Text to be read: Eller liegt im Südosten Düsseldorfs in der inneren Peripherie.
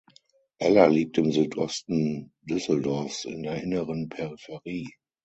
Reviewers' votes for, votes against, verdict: 6, 0, accepted